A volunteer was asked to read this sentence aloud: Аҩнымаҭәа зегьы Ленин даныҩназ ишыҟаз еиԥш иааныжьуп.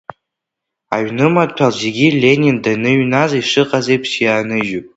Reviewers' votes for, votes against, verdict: 0, 2, rejected